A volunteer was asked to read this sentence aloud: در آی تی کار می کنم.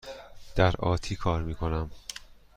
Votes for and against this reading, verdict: 1, 2, rejected